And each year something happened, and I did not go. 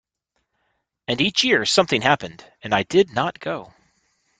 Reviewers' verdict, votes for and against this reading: accepted, 2, 0